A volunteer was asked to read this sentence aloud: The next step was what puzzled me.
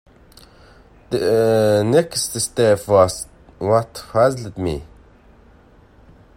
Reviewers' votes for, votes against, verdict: 0, 2, rejected